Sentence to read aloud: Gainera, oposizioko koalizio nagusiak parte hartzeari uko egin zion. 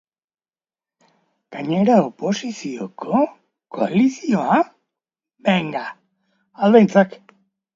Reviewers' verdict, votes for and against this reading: rejected, 1, 2